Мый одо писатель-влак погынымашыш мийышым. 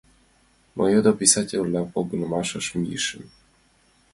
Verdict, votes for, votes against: accepted, 2, 1